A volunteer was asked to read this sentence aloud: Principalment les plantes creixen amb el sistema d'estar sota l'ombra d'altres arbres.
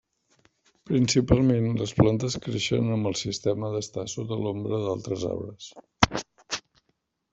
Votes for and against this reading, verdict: 0, 2, rejected